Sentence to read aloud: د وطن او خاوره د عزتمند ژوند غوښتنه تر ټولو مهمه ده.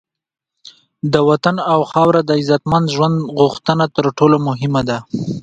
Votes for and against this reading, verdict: 2, 0, accepted